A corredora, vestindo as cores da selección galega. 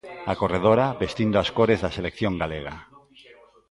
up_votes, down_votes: 2, 0